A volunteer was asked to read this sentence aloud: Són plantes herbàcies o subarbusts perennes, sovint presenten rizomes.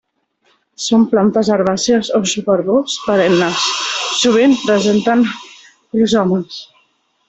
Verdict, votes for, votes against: rejected, 1, 2